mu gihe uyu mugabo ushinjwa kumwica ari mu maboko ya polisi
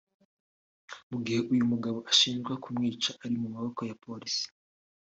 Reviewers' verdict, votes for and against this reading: accepted, 3, 0